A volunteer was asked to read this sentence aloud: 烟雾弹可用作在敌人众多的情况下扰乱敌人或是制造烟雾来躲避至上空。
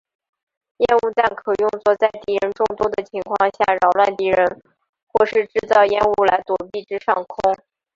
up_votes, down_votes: 3, 0